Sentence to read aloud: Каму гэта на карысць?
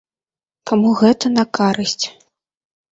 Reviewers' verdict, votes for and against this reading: rejected, 0, 2